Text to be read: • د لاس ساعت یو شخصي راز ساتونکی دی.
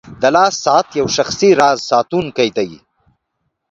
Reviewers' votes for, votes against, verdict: 3, 1, accepted